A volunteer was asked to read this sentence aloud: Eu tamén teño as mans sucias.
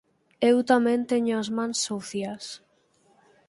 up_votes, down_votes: 4, 0